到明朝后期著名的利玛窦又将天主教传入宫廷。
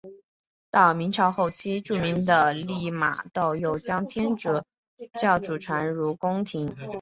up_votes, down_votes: 0, 2